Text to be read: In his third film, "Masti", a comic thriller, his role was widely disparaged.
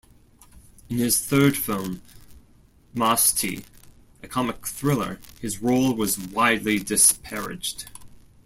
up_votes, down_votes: 2, 0